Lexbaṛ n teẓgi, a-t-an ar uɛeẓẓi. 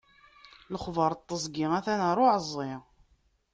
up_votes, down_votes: 2, 0